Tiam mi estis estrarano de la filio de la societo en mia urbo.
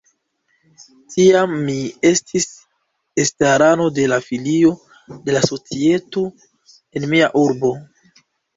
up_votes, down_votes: 1, 2